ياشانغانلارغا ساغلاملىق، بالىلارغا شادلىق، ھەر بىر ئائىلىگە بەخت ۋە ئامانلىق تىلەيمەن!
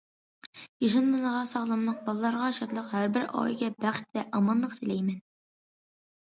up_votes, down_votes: 2, 0